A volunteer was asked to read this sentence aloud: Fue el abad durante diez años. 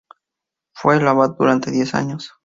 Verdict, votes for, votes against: accepted, 2, 0